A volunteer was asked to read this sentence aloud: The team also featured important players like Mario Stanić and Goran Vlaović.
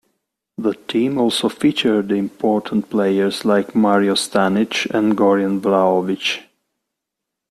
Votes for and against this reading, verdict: 0, 2, rejected